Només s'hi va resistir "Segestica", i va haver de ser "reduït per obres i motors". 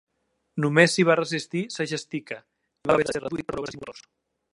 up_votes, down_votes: 0, 2